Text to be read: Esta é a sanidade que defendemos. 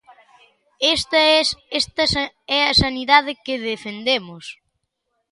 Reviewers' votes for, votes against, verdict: 1, 2, rejected